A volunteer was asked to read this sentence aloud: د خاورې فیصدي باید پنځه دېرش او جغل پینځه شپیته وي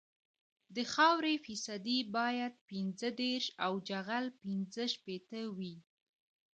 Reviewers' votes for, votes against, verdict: 2, 1, accepted